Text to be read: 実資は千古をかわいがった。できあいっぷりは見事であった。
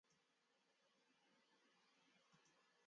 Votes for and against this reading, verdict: 0, 2, rejected